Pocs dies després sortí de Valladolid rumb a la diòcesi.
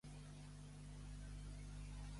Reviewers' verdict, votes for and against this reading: rejected, 0, 2